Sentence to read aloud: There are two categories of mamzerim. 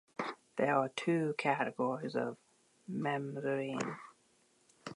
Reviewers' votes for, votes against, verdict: 2, 0, accepted